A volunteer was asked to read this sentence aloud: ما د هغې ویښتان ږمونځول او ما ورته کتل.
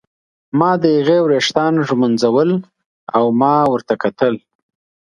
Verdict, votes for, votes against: accepted, 2, 0